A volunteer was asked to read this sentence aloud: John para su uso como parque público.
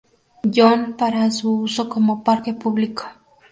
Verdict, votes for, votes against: accepted, 2, 0